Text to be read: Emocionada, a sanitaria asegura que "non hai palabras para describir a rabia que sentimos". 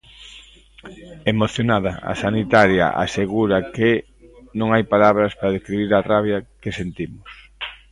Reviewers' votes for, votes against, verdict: 2, 0, accepted